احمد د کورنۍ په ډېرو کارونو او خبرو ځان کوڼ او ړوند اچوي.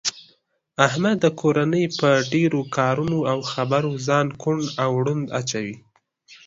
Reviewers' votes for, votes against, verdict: 2, 0, accepted